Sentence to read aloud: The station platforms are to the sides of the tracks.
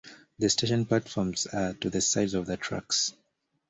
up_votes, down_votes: 2, 0